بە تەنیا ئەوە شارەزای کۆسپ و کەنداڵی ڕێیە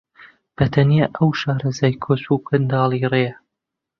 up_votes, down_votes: 1, 3